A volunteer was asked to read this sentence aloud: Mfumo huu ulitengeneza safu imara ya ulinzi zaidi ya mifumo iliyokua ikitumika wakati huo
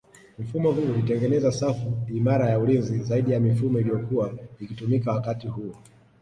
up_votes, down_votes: 0, 2